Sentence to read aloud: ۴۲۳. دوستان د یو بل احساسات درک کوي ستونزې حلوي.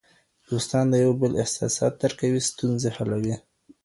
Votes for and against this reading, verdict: 0, 2, rejected